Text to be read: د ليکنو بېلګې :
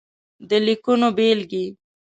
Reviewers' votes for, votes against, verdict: 2, 0, accepted